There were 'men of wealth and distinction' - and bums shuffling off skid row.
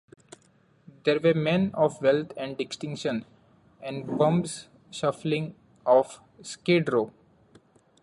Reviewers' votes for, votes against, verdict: 1, 2, rejected